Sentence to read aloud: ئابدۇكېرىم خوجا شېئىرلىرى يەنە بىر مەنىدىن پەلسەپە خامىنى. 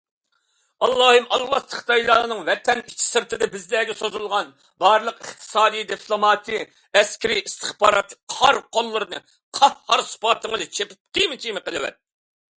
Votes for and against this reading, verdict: 0, 2, rejected